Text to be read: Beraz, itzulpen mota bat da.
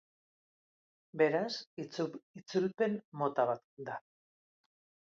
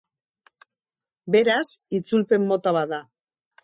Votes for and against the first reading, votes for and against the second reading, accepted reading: 1, 3, 2, 0, second